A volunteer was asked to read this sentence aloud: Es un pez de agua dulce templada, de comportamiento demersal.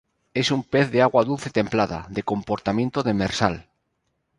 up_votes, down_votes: 2, 0